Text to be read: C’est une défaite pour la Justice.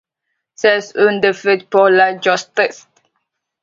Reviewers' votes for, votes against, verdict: 0, 2, rejected